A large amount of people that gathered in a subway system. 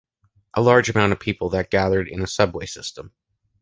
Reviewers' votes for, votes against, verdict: 2, 0, accepted